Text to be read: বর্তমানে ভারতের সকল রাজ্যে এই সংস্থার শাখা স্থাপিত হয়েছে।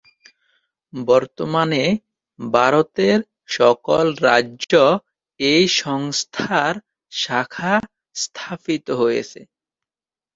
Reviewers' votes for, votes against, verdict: 1, 2, rejected